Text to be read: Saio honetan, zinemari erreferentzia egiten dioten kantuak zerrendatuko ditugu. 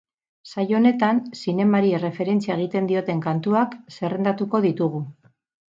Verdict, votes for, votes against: accepted, 8, 0